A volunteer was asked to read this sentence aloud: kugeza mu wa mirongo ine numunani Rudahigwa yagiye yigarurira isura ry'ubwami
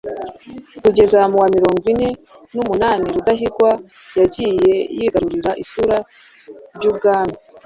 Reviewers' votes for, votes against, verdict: 2, 0, accepted